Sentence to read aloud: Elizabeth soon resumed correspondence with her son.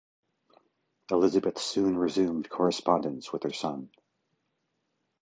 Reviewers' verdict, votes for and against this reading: accepted, 2, 0